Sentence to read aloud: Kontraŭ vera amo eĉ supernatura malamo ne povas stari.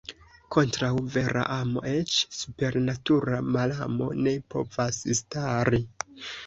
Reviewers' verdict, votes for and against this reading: accepted, 2, 0